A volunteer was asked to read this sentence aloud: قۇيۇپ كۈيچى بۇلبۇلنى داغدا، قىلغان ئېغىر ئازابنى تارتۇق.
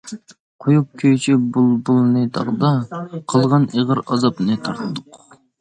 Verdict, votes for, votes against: accepted, 2, 0